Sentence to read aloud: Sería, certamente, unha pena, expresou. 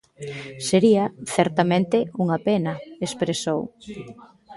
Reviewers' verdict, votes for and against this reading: accepted, 2, 0